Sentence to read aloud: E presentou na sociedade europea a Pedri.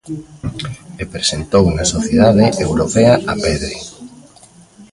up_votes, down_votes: 0, 2